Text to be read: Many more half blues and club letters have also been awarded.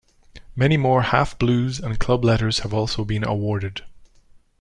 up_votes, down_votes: 2, 0